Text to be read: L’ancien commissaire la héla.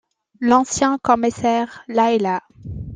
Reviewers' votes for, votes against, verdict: 2, 0, accepted